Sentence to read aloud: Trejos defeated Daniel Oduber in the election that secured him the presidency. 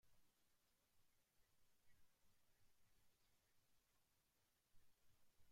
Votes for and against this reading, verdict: 0, 2, rejected